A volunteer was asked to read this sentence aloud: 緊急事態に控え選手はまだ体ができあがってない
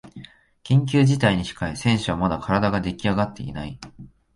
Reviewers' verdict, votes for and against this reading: rejected, 0, 2